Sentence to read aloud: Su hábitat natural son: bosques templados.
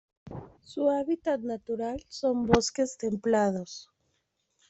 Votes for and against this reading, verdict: 2, 0, accepted